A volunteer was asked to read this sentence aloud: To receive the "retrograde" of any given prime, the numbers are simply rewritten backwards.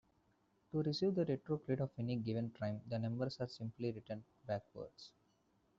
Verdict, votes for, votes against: rejected, 1, 2